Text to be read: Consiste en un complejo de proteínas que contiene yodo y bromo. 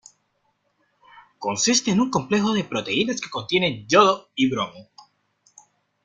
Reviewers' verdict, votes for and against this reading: accepted, 2, 1